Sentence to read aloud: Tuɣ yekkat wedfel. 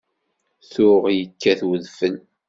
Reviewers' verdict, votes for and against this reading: accepted, 2, 0